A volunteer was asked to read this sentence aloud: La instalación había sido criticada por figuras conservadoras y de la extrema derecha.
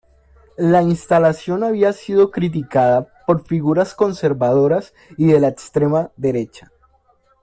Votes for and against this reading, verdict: 2, 0, accepted